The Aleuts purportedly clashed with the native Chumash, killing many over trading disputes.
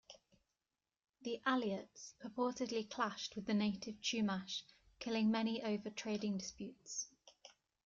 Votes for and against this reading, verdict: 1, 2, rejected